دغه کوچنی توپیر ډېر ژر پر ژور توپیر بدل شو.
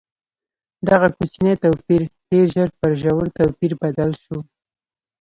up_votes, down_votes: 0, 2